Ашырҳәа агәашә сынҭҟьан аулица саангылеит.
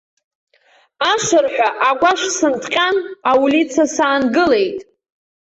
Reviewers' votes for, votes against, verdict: 0, 2, rejected